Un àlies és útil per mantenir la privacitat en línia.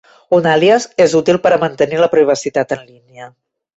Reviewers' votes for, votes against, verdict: 0, 2, rejected